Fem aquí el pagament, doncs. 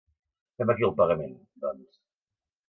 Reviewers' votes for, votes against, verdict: 2, 0, accepted